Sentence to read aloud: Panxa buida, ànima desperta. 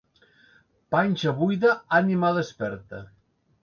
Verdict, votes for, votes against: accepted, 2, 0